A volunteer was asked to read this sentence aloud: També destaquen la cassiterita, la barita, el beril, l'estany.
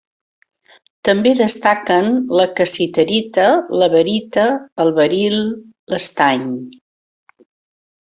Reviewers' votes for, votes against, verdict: 2, 0, accepted